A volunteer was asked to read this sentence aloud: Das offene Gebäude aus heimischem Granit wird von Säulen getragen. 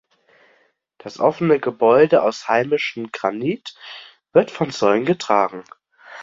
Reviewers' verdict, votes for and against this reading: accepted, 2, 0